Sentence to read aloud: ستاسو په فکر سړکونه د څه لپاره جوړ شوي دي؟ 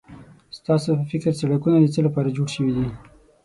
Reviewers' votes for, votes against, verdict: 6, 0, accepted